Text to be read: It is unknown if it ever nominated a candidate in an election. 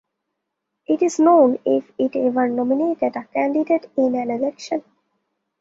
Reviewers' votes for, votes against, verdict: 0, 2, rejected